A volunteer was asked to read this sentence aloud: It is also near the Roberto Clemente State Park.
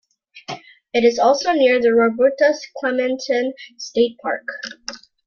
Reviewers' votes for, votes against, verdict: 2, 0, accepted